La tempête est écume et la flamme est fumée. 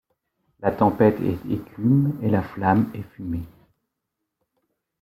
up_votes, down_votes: 0, 2